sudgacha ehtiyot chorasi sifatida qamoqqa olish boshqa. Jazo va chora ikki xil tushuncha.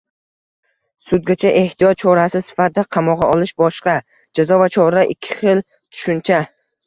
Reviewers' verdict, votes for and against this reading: rejected, 1, 2